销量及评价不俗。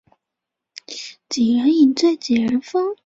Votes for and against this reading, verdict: 0, 2, rejected